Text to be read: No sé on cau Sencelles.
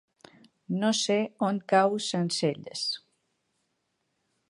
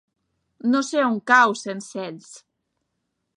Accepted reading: first